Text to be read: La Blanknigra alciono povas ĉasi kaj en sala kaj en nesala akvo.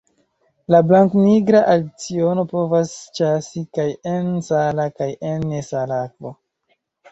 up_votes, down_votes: 1, 2